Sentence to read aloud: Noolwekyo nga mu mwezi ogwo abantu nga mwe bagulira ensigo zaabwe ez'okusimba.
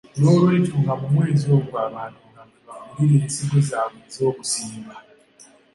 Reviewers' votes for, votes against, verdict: 2, 0, accepted